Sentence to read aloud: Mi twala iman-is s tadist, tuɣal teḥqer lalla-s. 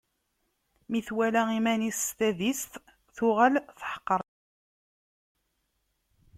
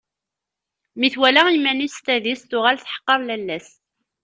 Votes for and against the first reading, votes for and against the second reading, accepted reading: 0, 2, 2, 0, second